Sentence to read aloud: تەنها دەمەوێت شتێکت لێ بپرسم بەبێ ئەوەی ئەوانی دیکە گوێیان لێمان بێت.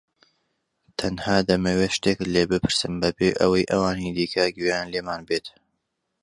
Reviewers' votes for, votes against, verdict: 2, 0, accepted